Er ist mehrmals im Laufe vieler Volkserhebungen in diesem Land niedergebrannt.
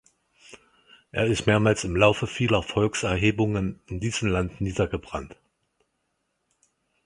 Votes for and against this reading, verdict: 4, 0, accepted